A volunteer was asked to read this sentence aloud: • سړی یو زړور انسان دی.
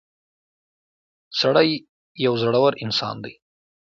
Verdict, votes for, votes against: accepted, 2, 0